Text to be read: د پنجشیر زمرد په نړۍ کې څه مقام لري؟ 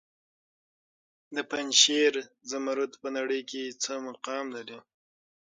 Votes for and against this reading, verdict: 6, 3, accepted